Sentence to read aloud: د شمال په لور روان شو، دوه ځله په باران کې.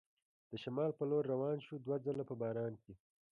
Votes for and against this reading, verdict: 2, 1, accepted